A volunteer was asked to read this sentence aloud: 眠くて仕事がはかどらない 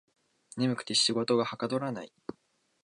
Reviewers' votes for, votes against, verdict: 2, 0, accepted